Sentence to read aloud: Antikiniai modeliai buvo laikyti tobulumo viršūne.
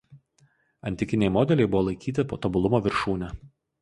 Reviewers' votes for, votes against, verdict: 0, 2, rejected